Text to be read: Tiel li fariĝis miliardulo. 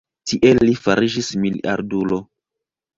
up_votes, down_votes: 0, 2